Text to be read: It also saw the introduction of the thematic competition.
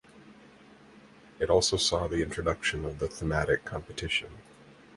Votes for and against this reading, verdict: 4, 0, accepted